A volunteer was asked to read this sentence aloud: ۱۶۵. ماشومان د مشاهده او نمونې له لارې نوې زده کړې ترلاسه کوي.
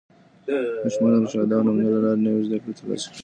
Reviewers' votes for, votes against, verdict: 0, 2, rejected